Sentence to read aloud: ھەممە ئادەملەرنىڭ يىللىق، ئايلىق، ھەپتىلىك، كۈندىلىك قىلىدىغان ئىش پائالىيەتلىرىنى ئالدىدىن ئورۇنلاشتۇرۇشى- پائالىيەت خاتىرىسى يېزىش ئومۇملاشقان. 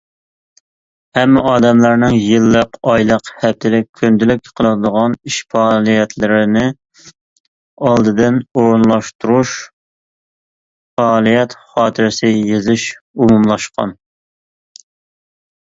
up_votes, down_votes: 1, 2